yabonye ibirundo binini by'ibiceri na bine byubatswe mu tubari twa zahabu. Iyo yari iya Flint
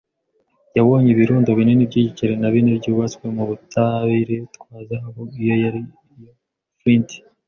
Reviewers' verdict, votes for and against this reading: rejected, 1, 2